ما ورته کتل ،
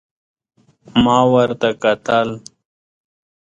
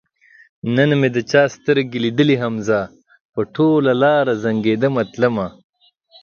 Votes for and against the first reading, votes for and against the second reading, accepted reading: 2, 0, 0, 7, first